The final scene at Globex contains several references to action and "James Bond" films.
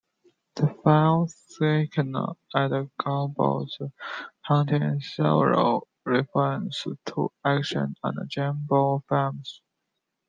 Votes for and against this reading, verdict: 2, 1, accepted